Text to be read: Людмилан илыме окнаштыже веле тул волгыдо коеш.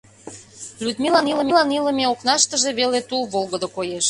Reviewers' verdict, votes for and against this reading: rejected, 0, 2